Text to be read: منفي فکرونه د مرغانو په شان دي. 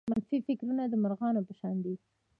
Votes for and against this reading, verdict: 0, 2, rejected